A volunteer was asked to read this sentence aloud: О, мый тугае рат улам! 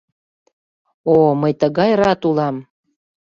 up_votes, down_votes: 0, 2